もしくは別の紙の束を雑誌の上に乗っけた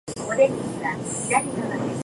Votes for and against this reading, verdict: 0, 2, rejected